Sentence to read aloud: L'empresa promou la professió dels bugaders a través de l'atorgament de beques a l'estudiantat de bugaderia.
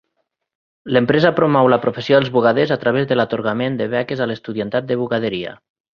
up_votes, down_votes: 2, 0